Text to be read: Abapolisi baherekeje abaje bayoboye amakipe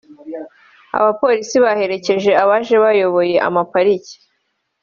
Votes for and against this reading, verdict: 1, 2, rejected